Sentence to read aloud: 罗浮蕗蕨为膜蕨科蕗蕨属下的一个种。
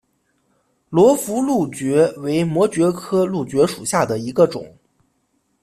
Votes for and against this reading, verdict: 2, 0, accepted